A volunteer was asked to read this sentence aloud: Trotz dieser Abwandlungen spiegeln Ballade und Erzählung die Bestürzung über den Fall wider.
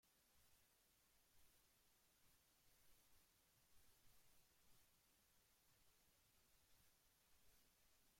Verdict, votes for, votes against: rejected, 0, 2